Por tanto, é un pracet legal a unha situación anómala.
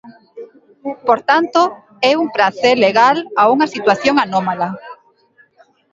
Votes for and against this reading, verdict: 1, 2, rejected